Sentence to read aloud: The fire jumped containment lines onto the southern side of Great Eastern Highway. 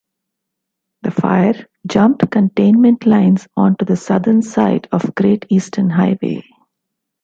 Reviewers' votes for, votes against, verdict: 2, 0, accepted